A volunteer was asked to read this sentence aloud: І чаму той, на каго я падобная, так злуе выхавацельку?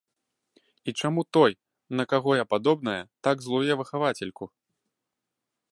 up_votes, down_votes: 2, 0